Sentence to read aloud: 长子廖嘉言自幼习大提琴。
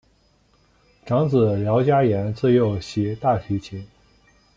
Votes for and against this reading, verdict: 1, 2, rejected